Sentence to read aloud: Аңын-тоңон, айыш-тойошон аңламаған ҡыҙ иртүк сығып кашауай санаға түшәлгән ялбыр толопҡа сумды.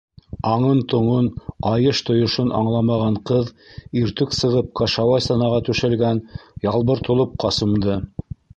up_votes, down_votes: 1, 2